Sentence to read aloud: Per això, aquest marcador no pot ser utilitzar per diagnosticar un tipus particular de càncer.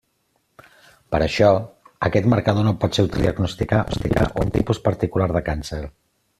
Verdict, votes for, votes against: rejected, 1, 2